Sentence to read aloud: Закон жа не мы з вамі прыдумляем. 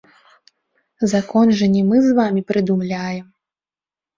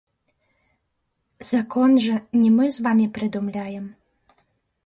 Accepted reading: first